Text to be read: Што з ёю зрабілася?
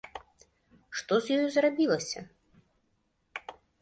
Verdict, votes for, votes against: accepted, 2, 0